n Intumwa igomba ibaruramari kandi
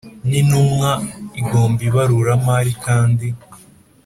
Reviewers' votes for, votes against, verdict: 2, 0, accepted